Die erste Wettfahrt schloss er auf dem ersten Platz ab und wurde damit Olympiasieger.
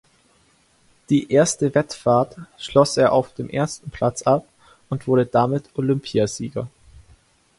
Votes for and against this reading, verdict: 2, 0, accepted